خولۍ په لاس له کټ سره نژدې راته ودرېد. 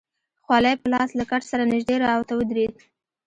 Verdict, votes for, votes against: accepted, 2, 1